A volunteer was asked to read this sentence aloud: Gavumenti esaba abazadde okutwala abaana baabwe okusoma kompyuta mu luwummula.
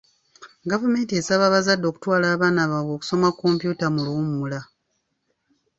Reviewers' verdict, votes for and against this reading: accepted, 2, 0